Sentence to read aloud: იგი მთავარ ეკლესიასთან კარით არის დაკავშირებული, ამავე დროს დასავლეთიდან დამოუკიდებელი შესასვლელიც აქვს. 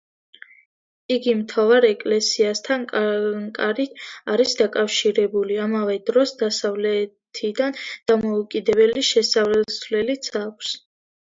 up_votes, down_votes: 2, 1